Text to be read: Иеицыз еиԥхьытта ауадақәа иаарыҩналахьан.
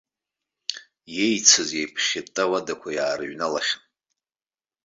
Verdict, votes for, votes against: accepted, 2, 0